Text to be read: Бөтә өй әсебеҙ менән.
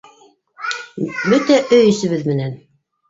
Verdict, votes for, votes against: rejected, 0, 2